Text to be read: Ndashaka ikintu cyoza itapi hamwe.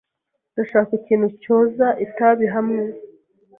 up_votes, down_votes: 1, 2